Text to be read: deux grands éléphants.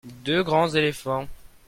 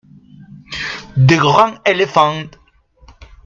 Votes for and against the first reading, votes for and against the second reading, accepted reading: 2, 0, 0, 2, first